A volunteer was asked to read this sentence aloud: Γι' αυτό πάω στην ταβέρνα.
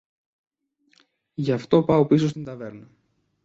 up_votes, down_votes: 1, 2